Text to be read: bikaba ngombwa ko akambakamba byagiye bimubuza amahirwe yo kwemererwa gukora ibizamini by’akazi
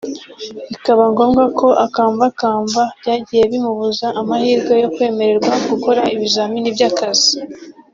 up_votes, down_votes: 2, 0